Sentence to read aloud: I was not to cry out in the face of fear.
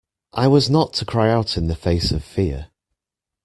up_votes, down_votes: 2, 0